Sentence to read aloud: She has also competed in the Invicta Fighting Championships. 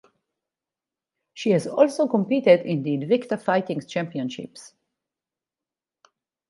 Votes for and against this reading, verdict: 0, 2, rejected